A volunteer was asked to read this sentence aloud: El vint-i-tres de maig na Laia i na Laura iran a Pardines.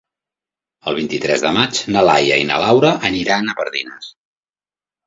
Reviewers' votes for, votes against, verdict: 1, 2, rejected